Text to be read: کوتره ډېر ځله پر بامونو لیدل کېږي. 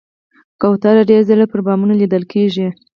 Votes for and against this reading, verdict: 4, 2, accepted